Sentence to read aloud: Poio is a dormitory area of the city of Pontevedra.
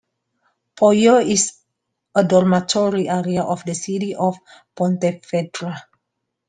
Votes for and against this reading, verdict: 2, 1, accepted